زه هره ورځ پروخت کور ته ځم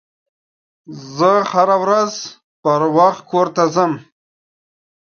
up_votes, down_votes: 2, 1